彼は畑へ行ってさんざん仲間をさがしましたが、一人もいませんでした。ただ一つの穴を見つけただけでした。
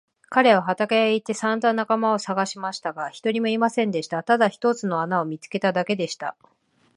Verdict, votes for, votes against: accepted, 2, 0